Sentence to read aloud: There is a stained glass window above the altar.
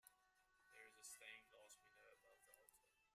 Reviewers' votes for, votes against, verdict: 0, 2, rejected